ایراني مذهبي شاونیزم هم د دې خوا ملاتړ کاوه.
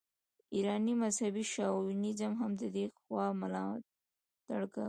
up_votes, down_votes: 2, 0